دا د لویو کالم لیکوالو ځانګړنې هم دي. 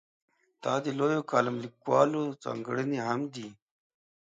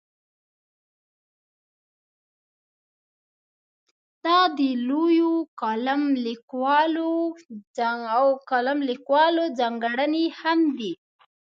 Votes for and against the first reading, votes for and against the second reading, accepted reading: 2, 0, 0, 2, first